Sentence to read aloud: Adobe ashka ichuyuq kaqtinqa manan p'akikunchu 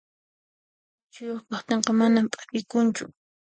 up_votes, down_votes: 1, 2